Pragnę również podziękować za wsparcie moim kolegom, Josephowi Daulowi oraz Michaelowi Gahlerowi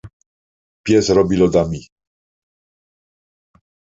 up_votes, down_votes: 0, 2